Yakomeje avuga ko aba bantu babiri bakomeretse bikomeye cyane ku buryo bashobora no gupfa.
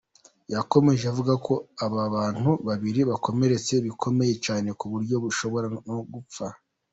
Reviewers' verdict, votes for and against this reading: accepted, 2, 0